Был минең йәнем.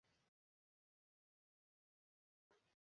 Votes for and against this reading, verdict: 0, 2, rejected